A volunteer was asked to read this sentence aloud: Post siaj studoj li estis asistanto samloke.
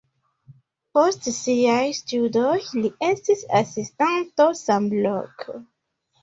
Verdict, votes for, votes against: rejected, 0, 2